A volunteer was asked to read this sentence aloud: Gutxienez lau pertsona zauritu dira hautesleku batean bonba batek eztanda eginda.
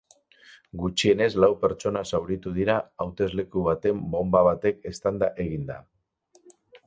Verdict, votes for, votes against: rejected, 0, 4